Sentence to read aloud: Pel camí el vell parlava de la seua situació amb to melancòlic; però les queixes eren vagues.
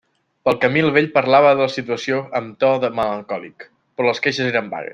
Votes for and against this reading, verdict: 0, 2, rejected